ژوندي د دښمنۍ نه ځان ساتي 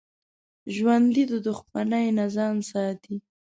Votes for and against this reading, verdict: 2, 0, accepted